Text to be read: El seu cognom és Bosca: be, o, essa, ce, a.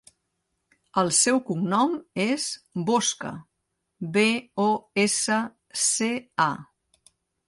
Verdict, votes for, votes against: accepted, 2, 0